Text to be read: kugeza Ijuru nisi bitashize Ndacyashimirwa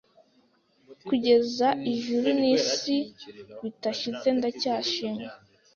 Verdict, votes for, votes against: rejected, 0, 2